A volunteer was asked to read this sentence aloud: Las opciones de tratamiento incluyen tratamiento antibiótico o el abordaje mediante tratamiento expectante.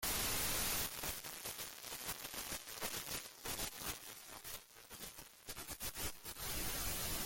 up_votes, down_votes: 0, 2